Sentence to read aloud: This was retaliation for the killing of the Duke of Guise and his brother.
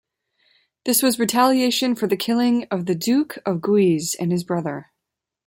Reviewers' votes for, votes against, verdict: 2, 0, accepted